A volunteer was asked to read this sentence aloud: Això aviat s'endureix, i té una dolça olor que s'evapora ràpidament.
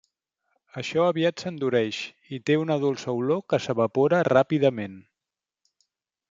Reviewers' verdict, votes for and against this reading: accepted, 3, 0